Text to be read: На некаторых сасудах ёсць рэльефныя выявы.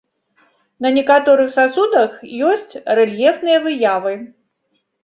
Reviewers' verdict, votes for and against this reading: accepted, 2, 0